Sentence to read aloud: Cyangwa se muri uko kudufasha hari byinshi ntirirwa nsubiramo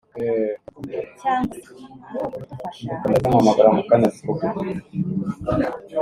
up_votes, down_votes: 1, 2